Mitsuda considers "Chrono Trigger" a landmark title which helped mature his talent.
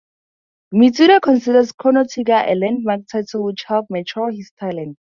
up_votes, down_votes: 4, 0